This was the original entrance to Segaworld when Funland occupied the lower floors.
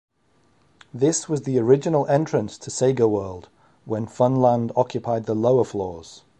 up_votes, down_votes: 2, 0